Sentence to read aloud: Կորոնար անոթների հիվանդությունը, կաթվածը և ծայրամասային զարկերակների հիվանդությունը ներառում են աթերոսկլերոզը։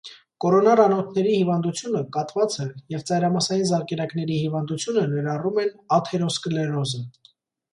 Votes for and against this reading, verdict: 2, 0, accepted